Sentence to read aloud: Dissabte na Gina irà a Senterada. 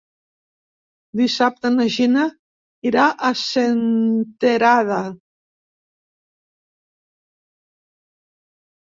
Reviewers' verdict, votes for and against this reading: rejected, 1, 2